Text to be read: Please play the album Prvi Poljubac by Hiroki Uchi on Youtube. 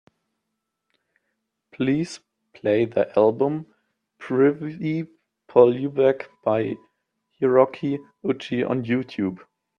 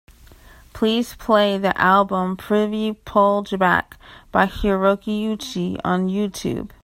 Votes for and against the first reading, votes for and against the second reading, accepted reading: 0, 2, 3, 0, second